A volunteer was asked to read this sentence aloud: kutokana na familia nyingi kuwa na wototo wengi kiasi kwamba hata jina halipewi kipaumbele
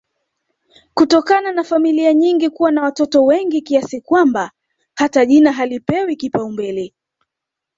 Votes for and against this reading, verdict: 0, 2, rejected